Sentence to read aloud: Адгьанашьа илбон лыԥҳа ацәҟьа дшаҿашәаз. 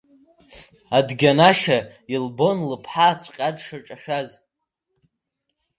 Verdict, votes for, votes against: rejected, 1, 2